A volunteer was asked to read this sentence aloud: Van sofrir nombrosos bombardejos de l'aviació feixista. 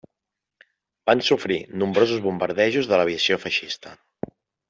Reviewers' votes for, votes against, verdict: 3, 0, accepted